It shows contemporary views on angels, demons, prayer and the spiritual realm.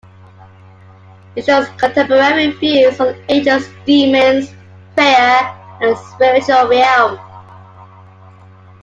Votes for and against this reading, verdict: 0, 2, rejected